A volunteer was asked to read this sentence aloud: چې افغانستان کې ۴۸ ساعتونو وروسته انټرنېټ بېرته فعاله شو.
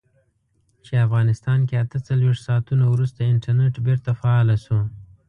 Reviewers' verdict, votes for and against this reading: rejected, 0, 2